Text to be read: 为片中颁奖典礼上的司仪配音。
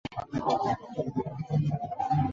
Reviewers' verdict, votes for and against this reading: rejected, 1, 4